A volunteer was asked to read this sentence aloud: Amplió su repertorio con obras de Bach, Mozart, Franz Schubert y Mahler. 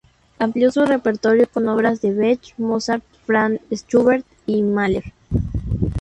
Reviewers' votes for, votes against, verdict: 0, 2, rejected